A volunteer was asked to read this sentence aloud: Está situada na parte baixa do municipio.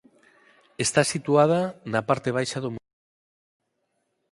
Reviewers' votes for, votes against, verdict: 0, 6, rejected